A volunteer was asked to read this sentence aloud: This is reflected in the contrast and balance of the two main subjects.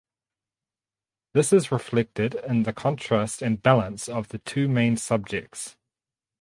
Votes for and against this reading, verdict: 4, 0, accepted